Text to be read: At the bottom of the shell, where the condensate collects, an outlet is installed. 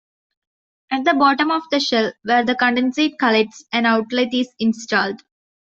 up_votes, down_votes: 2, 0